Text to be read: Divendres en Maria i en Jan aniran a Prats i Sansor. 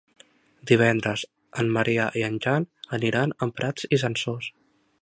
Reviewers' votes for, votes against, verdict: 0, 2, rejected